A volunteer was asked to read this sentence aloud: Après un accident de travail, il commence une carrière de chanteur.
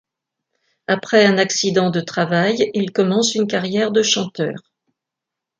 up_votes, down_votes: 2, 0